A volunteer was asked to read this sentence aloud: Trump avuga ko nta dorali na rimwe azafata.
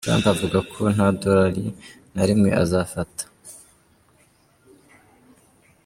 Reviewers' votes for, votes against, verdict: 2, 1, accepted